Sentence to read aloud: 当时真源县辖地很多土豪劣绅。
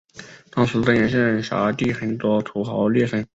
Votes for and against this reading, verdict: 2, 0, accepted